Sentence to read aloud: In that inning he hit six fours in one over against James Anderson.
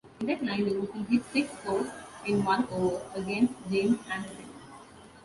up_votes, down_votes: 0, 2